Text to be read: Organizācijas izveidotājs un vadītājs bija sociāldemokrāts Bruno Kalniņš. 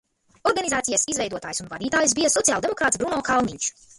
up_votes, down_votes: 0, 2